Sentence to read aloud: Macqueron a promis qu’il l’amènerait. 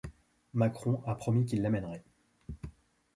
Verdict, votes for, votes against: rejected, 1, 2